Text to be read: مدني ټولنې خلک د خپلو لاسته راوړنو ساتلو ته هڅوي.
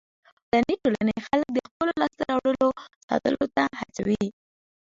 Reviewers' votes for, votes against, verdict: 2, 0, accepted